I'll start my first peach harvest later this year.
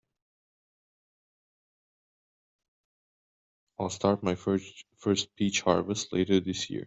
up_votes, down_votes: 0, 2